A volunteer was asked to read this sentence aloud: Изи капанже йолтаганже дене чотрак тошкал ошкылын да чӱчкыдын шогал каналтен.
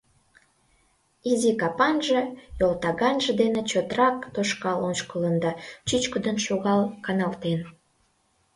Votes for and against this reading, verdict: 2, 0, accepted